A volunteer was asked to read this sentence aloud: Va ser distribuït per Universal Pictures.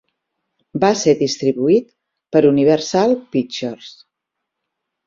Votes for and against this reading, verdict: 6, 0, accepted